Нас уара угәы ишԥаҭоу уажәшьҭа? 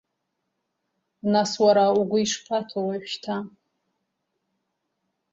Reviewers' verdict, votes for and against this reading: accepted, 2, 0